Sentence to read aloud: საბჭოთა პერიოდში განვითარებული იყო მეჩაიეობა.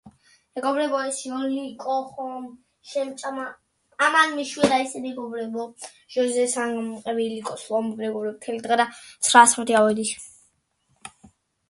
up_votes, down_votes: 0, 2